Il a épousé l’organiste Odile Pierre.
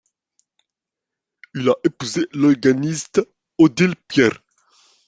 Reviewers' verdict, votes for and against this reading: accepted, 2, 1